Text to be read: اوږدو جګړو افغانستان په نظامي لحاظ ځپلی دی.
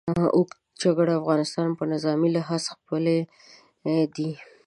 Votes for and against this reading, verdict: 1, 2, rejected